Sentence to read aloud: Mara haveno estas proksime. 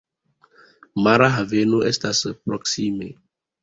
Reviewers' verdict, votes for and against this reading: accepted, 2, 0